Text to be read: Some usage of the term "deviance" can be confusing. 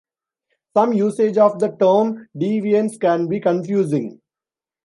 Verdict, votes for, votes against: accepted, 2, 0